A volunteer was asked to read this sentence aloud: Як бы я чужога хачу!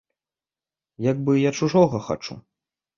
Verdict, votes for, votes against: accepted, 2, 0